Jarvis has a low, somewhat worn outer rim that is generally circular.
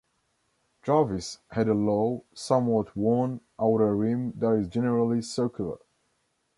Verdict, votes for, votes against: rejected, 0, 2